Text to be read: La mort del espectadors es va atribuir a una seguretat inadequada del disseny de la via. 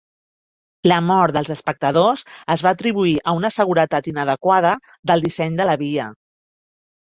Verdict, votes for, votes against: rejected, 1, 2